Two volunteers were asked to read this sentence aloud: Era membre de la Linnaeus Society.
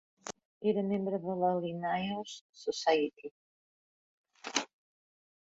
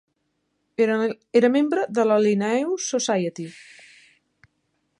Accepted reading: first